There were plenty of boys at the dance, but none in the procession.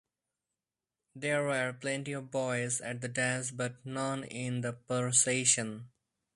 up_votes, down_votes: 2, 2